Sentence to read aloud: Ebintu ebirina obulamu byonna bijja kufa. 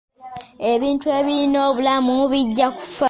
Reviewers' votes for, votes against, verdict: 2, 1, accepted